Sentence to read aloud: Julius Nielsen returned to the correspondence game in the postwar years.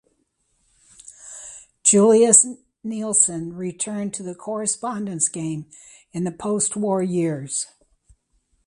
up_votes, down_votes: 2, 0